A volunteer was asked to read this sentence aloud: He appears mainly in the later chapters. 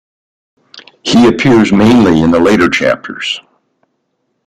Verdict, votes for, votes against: accepted, 2, 0